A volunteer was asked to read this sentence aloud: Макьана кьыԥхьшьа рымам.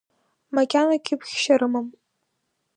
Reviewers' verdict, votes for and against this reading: accepted, 2, 0